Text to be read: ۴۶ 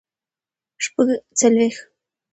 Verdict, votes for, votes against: rejected, 0, 2